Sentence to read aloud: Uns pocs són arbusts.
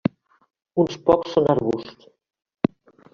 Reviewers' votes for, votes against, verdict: 1, 2, rejected